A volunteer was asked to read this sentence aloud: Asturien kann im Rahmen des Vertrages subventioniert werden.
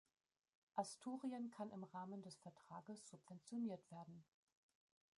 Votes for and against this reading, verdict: 2, 1, accepted